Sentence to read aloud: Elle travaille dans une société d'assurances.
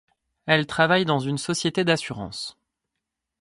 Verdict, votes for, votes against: accepted, 2, 0